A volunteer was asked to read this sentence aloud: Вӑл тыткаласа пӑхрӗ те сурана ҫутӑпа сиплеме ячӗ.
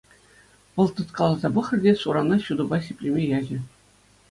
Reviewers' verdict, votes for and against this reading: accepted, 2, 1